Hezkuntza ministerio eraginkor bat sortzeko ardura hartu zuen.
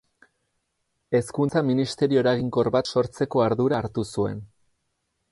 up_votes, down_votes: 4, 0